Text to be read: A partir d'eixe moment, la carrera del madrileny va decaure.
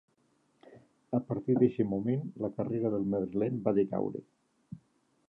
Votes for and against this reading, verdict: 2, 0, accepted